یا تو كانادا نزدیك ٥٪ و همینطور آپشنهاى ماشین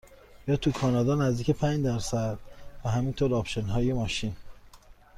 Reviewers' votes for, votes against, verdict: 0, 2, rejected